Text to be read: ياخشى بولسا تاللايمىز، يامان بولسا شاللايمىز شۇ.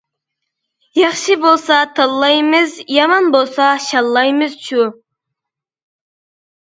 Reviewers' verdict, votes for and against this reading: accepted, 2, 0